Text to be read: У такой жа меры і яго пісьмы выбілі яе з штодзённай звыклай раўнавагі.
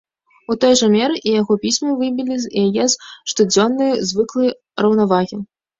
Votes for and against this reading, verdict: 1, 2, rejected